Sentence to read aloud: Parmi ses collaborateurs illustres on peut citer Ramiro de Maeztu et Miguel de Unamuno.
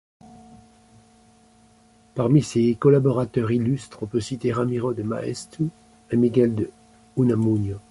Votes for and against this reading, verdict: 1, 2, rejected